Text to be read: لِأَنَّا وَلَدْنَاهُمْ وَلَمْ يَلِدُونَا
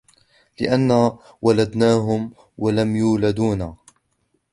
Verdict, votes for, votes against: rejected, 0, 2